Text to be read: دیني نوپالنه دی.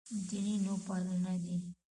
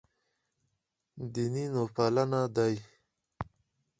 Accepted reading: second